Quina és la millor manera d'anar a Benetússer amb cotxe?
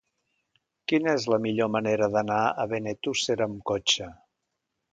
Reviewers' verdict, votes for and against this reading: accepted, 2, 0